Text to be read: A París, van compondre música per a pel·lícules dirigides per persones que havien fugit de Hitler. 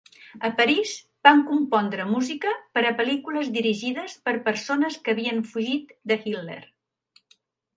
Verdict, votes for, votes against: accepted, 3, 0